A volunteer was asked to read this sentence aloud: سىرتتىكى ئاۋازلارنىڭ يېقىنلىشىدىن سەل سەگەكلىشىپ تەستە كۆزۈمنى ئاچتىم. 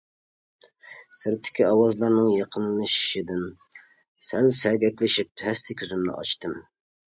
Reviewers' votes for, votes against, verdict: 0, 2, rejected